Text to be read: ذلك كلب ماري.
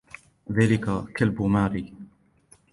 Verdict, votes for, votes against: accepted, 2, 0